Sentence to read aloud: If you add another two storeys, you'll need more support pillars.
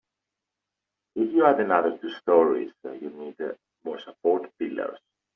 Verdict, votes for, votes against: rejected, 1, 2